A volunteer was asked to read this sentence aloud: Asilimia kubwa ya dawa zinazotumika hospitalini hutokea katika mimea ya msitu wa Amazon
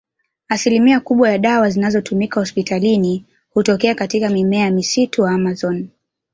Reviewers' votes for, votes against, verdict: 5, 0, accepted